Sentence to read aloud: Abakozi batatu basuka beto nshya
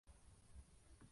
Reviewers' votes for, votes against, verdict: 0, 2, rejected